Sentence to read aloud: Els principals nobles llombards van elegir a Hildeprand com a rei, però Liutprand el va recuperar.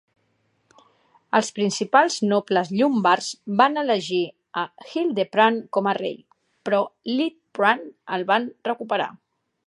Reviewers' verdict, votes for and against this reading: accepted, 2, 0